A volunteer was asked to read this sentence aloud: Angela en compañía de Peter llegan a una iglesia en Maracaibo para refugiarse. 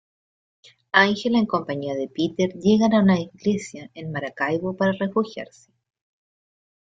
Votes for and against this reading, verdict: 2, 0, accepted